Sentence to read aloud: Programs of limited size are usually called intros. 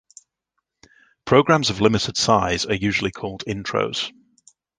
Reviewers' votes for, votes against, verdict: 2, 0, accepted